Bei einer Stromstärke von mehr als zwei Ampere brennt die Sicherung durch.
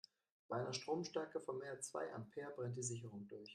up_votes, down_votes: 2, 0